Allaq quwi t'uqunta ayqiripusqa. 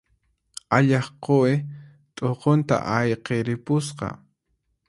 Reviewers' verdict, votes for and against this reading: accepted, 4, 0